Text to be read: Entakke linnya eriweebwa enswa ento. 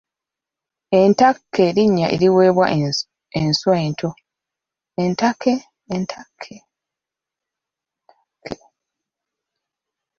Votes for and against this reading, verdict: 0, 2, rejected